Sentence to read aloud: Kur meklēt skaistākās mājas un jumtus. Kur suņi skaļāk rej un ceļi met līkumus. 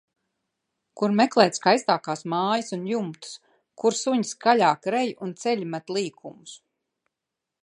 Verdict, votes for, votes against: accepted, 2, 0